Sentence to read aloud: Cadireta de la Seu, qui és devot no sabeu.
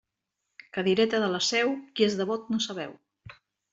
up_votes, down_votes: 2, 0